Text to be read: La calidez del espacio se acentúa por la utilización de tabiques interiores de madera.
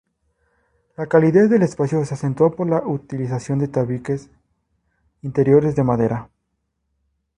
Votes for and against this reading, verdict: 2, 0, accepted